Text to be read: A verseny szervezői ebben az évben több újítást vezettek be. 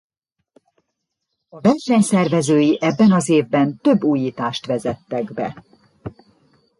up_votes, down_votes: 1, 2